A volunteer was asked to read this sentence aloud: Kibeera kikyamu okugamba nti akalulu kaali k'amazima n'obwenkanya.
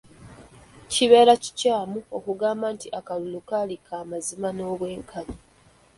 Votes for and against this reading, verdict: 0, 2, rejected